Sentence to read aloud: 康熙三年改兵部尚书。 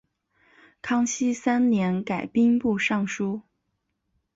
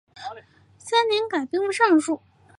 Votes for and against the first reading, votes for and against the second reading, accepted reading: 3, 0, 1, 2, first